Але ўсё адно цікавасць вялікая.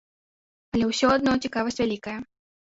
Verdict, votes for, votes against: accepted, 2, 0